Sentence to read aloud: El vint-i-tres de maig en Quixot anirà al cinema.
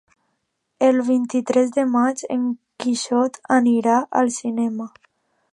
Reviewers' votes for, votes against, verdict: 3, 0, accepted